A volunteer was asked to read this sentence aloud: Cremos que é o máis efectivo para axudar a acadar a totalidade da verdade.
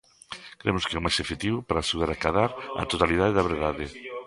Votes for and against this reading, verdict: 0, 2, rejected